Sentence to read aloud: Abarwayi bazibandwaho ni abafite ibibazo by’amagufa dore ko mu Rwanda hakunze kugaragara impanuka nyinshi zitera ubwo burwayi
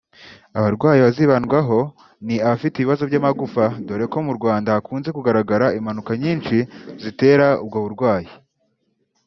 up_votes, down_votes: 1, 2